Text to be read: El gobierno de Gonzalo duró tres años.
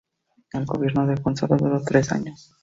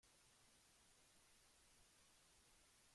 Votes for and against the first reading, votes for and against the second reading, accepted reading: 2, 0, 0, 2, first